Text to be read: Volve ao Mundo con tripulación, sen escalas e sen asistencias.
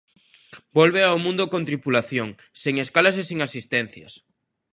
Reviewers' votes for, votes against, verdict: 2, 0, accepted